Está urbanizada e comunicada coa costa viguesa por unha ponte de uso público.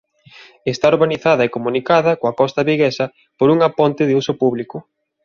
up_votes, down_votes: 2, 0